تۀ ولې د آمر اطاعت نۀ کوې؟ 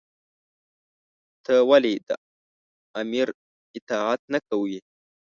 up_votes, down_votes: 1, 2